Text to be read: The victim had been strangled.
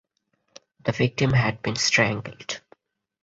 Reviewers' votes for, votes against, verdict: 4, 0, accepted